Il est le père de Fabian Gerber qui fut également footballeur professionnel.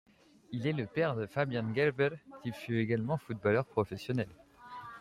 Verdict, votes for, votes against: rejected, 1, 2